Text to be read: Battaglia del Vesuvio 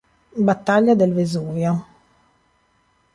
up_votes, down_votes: 2, 0